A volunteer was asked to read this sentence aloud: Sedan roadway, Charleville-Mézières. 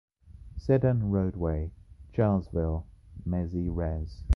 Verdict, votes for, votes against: accepted, 2, 0